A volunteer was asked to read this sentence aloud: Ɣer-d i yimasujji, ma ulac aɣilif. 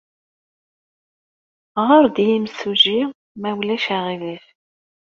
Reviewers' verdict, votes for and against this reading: rejected, 0, 2